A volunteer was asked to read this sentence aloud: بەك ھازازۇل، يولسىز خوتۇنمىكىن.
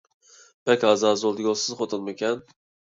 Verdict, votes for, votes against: rejected, 0, 3